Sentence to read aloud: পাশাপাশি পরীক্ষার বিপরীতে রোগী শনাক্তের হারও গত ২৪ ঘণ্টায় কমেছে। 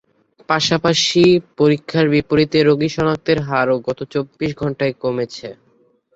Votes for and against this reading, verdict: 0, 2, rejected